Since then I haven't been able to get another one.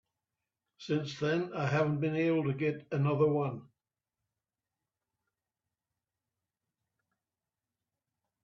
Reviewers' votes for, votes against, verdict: 6, 0, accepted